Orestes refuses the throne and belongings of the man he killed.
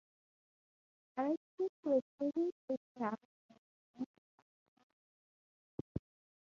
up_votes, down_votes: 0, 2